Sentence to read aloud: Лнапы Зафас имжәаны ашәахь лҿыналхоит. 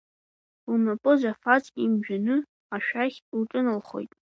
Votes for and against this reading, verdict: 0, 2, rejected